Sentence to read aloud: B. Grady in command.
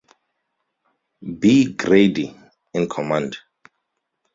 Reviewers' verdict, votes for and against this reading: accepted, 2, 0